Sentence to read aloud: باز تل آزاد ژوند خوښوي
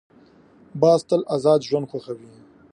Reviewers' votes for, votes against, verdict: 2, 0, accepted